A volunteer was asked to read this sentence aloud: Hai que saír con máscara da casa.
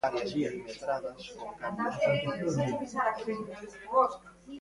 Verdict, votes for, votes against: rejected, 0, 2